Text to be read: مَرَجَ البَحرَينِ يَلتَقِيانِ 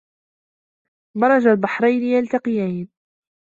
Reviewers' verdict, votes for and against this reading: rejected, 1, 2